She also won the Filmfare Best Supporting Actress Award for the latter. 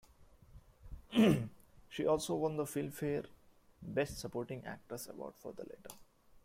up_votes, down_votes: 2, 0